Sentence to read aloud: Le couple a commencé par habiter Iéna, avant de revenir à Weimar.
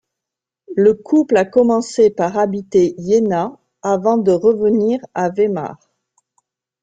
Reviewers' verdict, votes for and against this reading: rejected, 1, 2